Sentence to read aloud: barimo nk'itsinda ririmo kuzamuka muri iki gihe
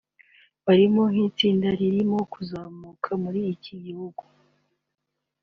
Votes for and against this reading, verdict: 3, 2, accepted